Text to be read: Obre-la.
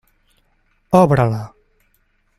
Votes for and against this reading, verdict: 3, 0, accepted